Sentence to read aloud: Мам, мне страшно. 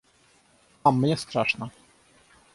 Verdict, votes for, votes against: rejected, 0, 3